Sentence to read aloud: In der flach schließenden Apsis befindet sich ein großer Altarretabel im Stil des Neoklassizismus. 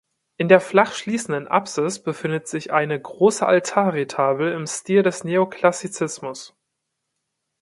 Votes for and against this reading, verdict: 0, 2, rejected